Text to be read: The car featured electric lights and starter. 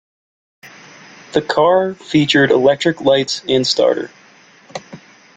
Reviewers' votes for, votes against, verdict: 2, 0, accepted